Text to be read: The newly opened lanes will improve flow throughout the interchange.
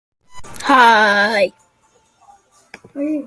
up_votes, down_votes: 0, 2